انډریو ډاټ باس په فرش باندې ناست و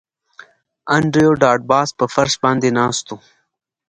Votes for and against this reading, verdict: 2, 0, accepted